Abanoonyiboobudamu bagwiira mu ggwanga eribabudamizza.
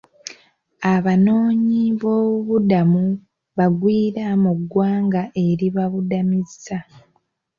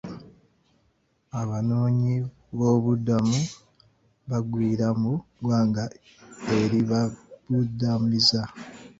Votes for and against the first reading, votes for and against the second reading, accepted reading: 2, 0, 1, 2, first